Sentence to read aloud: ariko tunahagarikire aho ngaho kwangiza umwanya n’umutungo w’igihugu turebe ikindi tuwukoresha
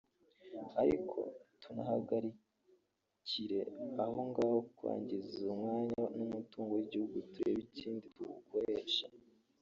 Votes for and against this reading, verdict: 2, 0, accepted